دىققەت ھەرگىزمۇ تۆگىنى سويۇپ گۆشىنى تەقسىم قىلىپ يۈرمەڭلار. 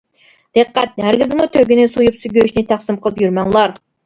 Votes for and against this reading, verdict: 0, 2, rejected